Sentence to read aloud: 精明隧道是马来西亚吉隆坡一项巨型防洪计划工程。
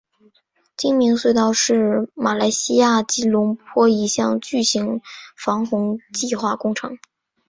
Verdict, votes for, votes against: accepted, 4, 0